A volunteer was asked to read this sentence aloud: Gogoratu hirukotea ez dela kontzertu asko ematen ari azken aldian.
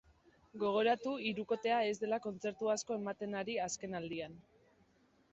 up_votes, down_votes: 2, 0